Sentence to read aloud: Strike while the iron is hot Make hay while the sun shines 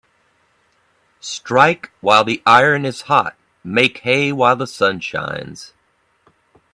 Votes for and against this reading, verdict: 2, 0, accepted